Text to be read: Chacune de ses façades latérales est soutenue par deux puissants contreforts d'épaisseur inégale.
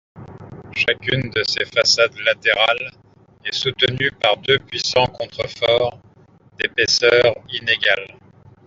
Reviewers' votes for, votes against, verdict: 2, 0, accepted